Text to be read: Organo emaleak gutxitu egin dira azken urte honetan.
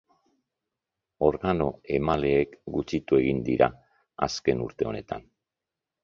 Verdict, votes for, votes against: rejected, 0, 2